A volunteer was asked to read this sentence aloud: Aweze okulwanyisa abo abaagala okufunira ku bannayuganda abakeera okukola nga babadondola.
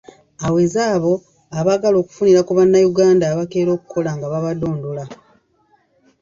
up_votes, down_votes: 1, 2